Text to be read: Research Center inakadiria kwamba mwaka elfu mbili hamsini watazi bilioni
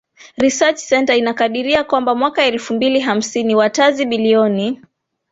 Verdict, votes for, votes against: accepted, 2, 0